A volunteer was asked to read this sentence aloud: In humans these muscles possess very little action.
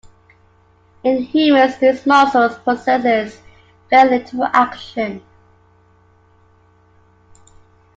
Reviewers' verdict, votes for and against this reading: accepted, 2, 0